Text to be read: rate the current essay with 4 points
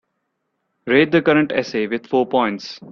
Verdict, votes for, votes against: rejected, 0, 2